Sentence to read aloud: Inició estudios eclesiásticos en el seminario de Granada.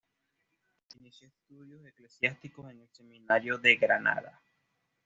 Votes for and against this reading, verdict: 1, 2, rejected